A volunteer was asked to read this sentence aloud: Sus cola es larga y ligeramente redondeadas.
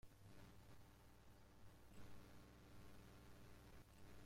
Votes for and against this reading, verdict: 0, 2, rejected